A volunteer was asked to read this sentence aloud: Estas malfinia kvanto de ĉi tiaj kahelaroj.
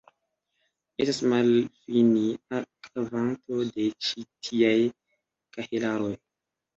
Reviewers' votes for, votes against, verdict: 2, 1, accepted